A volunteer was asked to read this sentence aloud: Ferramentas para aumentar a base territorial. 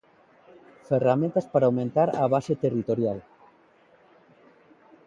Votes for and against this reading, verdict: 2, 0, accepted